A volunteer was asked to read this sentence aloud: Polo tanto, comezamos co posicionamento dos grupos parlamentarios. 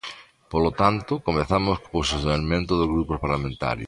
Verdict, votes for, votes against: rejected, 0, 2